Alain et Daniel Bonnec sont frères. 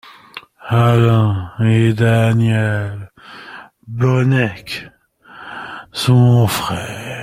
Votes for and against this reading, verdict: 0, 2, rejected